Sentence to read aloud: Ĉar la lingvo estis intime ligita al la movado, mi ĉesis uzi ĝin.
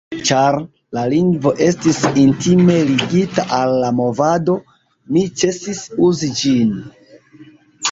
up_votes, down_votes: 1, 2